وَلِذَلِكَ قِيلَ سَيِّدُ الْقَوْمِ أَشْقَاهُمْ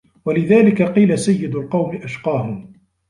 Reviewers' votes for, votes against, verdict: 1, 2, rejected